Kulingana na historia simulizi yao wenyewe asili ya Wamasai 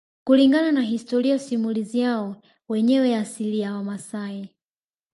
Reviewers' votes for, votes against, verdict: 3, 1, accepted